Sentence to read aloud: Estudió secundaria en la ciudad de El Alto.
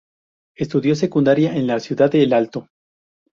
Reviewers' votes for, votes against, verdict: 0, 2, rejected